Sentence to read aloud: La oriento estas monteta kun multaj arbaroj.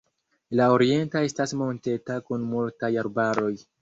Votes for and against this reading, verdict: 1, 2, rejected